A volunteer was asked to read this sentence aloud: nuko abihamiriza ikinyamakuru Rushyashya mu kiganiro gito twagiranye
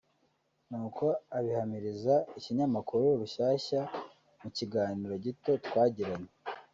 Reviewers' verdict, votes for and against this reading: rejected, 1, 2